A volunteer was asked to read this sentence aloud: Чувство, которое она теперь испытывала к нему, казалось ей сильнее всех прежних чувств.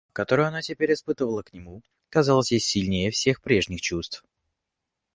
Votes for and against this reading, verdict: 1, 2, rejected